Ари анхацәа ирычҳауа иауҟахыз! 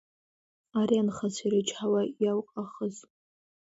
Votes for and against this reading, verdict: 2, 0, accepted